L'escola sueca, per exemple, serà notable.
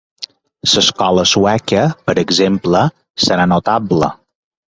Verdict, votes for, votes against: rejected, 1, 2